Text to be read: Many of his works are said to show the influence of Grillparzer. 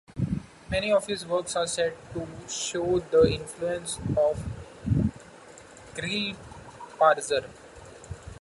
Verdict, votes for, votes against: accepted, 2, 0